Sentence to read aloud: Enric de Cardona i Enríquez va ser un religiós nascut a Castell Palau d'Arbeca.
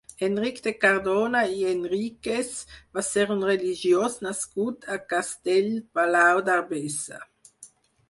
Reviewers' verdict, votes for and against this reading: rejected, 0, 4